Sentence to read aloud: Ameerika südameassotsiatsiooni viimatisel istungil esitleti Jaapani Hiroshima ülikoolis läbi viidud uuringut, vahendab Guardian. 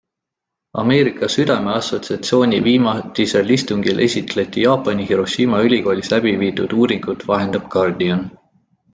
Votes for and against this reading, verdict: 2, 0, accepted